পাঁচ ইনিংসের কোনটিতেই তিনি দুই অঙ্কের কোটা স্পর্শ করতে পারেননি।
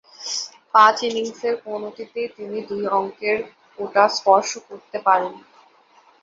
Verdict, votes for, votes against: rejected, 2, 2